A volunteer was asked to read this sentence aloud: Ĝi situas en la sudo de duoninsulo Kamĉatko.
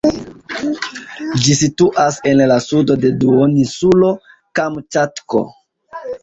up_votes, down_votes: 1, 2